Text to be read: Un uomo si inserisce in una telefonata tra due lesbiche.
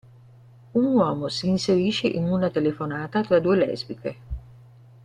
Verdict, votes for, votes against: accepted, 2, 0